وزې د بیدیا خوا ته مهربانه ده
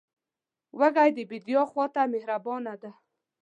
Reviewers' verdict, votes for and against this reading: rejected, 1, 2